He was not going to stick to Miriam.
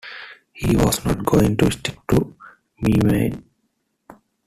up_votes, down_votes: 1, 2